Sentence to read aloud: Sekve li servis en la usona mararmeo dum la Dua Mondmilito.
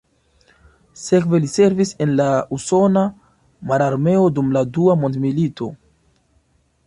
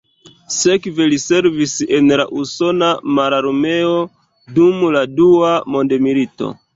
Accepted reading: first